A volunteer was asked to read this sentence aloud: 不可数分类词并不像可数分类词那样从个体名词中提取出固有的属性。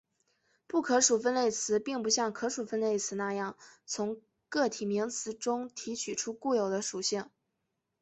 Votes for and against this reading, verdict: 4, 1, accepted